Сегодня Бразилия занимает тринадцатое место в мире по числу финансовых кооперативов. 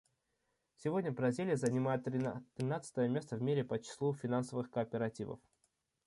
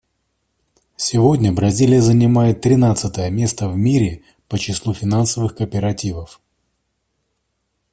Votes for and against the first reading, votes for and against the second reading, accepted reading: 1, 2, 2, 0, second